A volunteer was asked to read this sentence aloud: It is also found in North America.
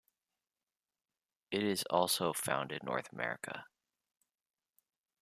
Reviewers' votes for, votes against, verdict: 2, 0, accepted